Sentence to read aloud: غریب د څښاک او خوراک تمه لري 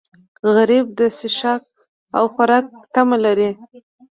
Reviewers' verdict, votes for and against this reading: accepted, 2, 0